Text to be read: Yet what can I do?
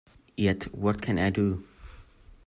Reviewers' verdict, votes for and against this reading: accepted, 2, 0